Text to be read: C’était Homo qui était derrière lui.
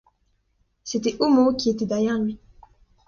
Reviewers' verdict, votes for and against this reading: accepted, 2, 0